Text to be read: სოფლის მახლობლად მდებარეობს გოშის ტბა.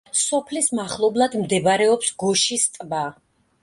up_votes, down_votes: 2, 0